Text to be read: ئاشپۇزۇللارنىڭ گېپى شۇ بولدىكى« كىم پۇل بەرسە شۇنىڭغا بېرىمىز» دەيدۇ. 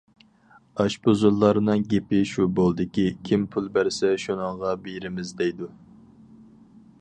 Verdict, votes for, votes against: accepted, 4, 0